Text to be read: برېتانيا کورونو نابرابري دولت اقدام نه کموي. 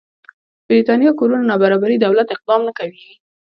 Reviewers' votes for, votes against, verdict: 0, 2, rejected